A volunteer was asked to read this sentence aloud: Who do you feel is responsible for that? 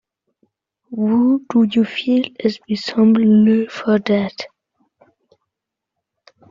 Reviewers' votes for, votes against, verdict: 1, 2, rejected